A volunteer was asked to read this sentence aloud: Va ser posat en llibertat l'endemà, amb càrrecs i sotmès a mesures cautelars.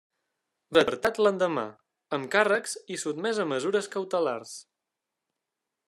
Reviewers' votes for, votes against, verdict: 0, 2, rejected